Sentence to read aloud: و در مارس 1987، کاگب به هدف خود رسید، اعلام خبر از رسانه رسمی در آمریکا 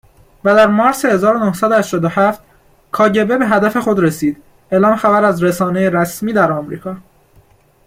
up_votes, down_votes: 0, 2